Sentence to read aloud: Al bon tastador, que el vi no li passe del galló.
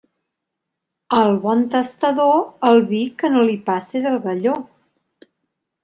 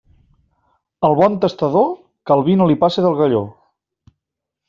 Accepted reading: second